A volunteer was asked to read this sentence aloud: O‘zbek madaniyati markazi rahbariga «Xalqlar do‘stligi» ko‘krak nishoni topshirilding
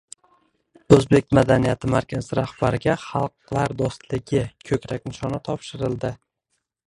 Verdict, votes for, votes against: rejected, 0, 2